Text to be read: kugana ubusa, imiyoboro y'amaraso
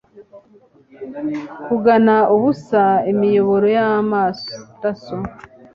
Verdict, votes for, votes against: rejected, 1, 2